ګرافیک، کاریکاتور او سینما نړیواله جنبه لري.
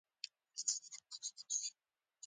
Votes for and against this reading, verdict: 0, 2, rejected